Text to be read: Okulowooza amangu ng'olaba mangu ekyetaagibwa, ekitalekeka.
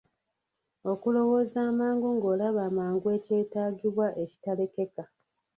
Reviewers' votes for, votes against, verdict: 1, 2, rejected